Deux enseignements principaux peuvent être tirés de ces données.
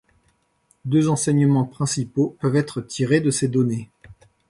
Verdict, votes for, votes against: accepted, 2, 0